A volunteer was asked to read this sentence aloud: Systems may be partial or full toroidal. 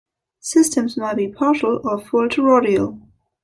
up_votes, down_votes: 2, 1